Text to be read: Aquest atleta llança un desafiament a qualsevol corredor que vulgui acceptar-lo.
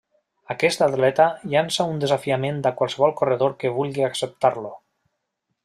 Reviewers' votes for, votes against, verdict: 2, 0, accepted